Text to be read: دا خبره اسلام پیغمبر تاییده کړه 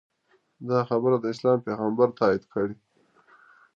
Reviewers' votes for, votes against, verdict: 1, 2, rejected